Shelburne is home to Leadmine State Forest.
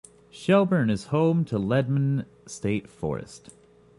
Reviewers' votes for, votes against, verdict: 2, 0, accepted